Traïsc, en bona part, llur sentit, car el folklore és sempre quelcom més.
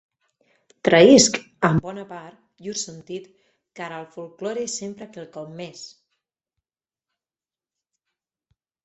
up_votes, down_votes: 4, 2